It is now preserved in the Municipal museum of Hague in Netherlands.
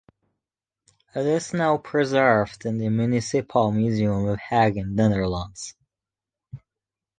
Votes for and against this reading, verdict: 2, 0, accepted